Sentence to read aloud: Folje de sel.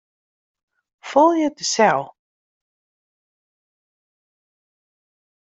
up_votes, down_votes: 1, 2